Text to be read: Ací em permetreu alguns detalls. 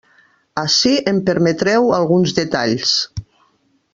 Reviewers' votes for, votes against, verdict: 2, 0, accepted